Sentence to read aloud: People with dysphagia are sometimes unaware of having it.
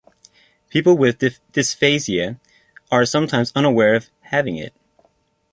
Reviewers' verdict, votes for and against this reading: rejected, 0, 2